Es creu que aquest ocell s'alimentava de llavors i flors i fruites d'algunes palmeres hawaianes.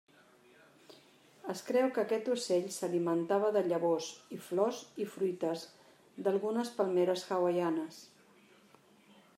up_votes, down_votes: 3, 0